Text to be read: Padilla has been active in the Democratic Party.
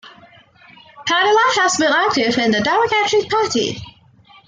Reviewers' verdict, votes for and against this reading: accepted, 2, 1